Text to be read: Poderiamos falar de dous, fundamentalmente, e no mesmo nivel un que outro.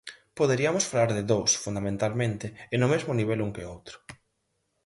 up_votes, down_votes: 2, 4